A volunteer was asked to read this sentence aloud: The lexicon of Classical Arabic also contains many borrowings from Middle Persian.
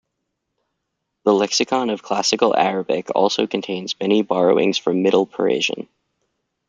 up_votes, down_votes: 0, 2